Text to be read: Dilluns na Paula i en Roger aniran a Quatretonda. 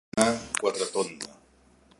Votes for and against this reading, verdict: 1, 2, rejected